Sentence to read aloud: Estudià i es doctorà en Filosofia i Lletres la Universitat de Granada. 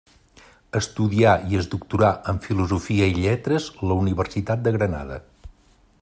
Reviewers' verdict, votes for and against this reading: accepted, 2, 0